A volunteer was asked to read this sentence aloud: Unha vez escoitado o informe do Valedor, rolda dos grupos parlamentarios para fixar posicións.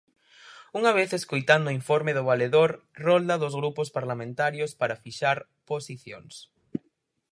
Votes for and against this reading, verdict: 2, 4, rejected